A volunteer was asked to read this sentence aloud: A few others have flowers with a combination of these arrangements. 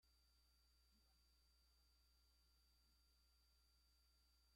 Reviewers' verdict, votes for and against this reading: rejected, 0, 2